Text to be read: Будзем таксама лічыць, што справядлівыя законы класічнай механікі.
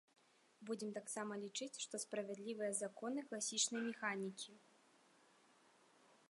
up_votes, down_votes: 2, 0